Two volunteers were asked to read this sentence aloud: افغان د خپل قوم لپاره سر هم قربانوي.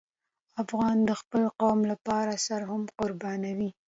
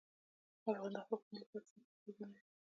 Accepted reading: first